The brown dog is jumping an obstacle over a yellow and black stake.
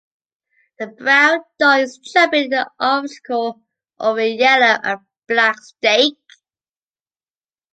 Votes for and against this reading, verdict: 3, 2, accepted